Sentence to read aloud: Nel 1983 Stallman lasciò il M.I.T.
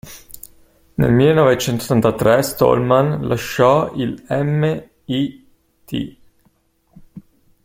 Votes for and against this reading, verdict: 0, 2, rejected